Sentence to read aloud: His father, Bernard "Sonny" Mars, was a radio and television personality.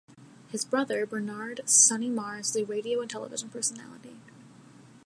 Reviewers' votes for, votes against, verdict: 0, 2, rejected